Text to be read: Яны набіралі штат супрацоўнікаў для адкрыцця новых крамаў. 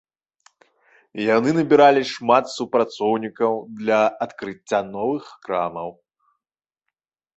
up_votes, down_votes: 0, 2